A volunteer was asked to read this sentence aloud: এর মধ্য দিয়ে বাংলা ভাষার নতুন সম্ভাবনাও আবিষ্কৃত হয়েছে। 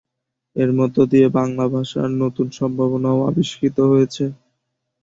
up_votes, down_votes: 2, 0